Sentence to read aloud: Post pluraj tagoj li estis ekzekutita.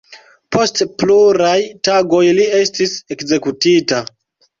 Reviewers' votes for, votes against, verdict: 2, 0, accepted